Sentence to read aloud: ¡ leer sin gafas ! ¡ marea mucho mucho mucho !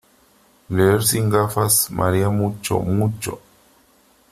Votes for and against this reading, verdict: 1, 3, rejected